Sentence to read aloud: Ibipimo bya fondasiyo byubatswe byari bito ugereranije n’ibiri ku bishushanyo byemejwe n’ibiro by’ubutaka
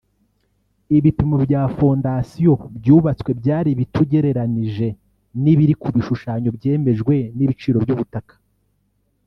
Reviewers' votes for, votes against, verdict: 0, 3, rejected